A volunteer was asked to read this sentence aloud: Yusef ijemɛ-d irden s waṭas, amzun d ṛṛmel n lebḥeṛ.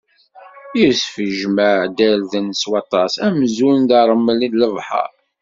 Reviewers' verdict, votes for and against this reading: accepted, 2, 0